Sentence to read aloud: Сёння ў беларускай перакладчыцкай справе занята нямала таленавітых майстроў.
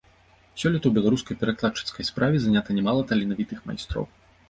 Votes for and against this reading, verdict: 1, 2, rejected